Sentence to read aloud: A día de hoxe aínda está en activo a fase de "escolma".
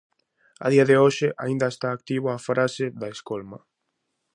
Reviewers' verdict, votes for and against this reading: rejected, 0, 2